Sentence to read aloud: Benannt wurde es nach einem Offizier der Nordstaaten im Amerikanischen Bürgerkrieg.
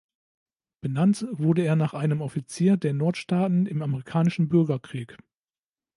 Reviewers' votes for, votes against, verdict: 0, 2, rejected